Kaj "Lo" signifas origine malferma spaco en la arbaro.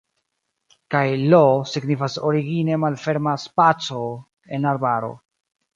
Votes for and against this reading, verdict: 0, 2, rejected